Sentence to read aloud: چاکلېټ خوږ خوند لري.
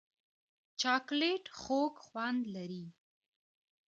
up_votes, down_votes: 2, 0